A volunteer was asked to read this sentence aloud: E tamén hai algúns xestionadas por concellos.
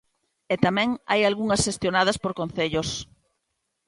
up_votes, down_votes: 0, 2